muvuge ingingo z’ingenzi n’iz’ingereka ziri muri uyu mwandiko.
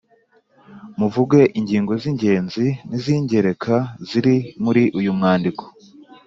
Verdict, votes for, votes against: accepted, 3, 0